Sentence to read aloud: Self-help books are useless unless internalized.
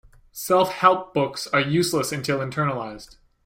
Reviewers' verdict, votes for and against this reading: rejected, 0, 3